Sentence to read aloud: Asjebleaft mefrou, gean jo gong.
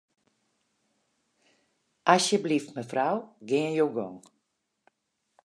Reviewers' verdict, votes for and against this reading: rejected, 2, 2